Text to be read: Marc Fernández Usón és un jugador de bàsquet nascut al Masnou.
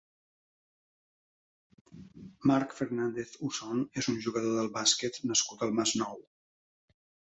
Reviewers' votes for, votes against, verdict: 1, 2, rejected